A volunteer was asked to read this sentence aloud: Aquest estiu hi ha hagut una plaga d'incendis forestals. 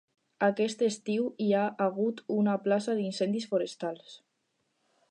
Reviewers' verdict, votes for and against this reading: rejected, 0, 4